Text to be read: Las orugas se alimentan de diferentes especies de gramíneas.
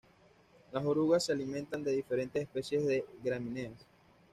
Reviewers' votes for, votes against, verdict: 0, 2, rejected